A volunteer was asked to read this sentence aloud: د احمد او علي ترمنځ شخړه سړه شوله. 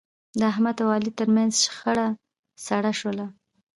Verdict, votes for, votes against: rejected, 1, 2